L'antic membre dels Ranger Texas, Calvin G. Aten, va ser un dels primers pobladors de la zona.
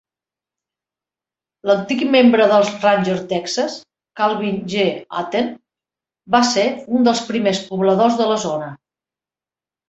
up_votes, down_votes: 2, 0